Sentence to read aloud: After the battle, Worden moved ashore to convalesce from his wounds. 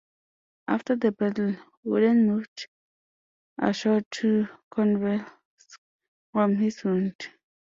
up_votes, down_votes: 0, 2